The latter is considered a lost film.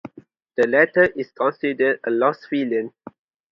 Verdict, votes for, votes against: accepted, 2, 0